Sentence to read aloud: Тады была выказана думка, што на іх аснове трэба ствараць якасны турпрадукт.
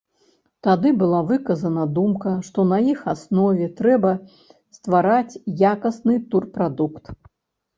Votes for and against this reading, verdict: 3, 0, accepted